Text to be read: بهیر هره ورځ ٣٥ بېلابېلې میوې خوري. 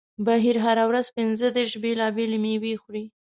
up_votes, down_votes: 0, 2